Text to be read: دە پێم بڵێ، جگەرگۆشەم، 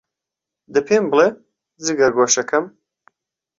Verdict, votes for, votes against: rejected, 0, 2